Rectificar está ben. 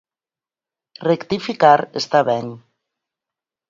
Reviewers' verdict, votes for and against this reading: accepted, 4, 0